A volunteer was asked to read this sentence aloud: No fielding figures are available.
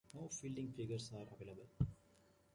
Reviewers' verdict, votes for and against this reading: accepted, 2, 1